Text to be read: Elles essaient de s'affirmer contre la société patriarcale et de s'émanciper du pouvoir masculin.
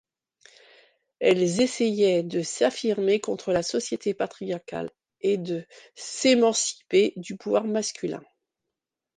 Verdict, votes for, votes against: rejected, 0, 2